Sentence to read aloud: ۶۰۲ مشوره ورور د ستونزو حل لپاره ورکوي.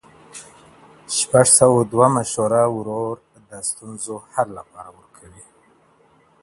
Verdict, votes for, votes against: rejected, 0, 2